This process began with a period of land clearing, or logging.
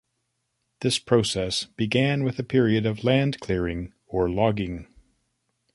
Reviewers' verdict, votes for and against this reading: accepted, 2, 0